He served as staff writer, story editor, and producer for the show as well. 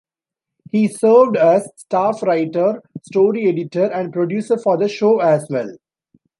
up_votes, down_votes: 1, 2